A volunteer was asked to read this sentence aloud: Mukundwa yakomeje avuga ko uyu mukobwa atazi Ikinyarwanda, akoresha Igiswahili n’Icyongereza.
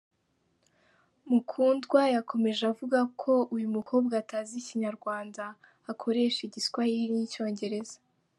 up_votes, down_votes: 2, 0